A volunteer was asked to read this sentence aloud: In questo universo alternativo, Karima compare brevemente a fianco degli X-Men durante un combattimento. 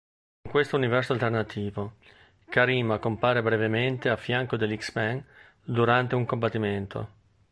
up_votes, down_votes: 0, 2